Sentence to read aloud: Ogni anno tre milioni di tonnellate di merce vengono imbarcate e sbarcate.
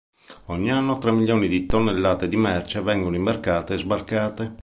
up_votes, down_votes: 2, 0